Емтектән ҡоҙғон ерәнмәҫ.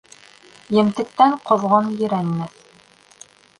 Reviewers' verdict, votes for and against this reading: rejected, 0, 2